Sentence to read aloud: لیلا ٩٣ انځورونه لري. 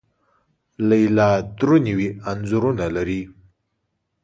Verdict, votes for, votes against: rejected, 0, 2